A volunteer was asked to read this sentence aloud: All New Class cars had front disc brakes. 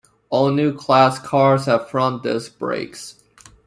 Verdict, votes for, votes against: rejected, 1, 2